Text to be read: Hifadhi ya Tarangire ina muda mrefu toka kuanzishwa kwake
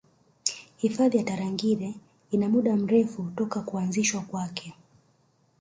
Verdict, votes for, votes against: accepted, 3, 0